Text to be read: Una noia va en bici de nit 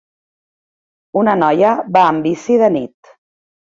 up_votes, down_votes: 2, 0